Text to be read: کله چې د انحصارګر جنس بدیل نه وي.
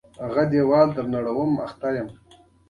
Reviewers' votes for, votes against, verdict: 1, 2, rejected